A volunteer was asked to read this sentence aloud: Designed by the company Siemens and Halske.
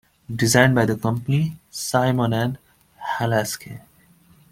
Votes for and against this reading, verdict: 1, 2, rejected